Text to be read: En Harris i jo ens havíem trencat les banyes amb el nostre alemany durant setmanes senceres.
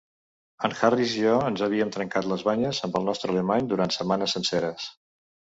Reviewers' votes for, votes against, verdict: 3, 0, accepted